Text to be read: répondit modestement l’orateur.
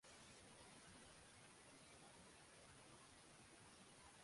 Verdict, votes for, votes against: rejected, 0, 2